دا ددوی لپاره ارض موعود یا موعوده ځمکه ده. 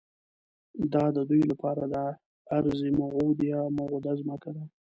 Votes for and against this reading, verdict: 1, 2, rejected